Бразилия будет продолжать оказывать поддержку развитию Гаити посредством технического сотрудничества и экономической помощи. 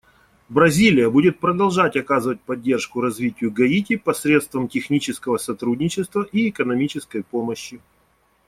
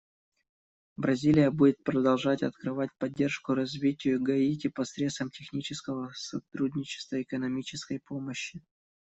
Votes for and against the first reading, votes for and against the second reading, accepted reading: 2, 0, 0, 2, first